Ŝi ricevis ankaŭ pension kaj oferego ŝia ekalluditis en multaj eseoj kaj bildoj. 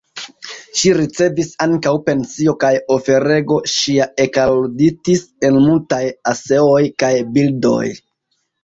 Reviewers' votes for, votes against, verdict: 1, 2, rejected